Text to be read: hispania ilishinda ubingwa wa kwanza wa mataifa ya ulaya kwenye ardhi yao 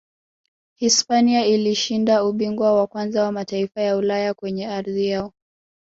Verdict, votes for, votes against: rejected, 1, 2